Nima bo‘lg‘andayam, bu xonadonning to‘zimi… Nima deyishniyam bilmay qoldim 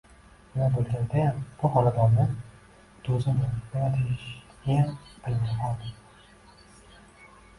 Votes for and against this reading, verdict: 0, 2, rejected